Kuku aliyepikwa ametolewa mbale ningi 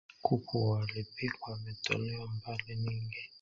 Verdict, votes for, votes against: rejected, 1, 2